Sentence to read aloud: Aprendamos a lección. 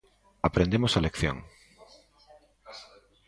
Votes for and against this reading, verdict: 0, 2, rejected